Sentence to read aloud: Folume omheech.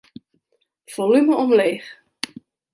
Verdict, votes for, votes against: rejected, 0, 2